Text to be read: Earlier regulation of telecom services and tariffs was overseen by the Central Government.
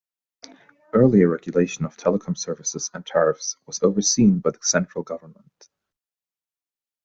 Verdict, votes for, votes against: accepted, 2, 0